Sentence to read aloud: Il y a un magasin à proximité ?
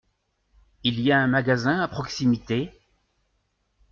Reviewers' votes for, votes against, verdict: 2, 0, accepted